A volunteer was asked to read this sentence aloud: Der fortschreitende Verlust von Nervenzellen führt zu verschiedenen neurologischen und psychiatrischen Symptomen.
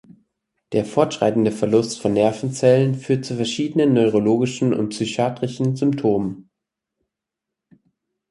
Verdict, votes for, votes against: accepted, 4, 0